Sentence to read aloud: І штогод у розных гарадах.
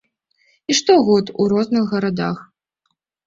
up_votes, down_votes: 2, 0